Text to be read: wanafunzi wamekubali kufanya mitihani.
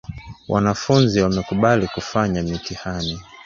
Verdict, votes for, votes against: accepted, 2, 1